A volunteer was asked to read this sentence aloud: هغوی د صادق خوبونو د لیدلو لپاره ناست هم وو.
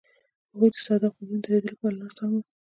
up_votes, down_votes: 0, 2